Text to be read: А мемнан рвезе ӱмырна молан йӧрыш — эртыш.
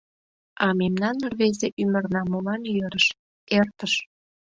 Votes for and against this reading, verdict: 2, 0, accepted